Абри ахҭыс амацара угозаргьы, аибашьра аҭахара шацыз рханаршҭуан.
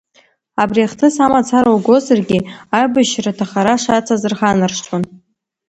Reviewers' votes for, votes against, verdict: 2, 1, accepted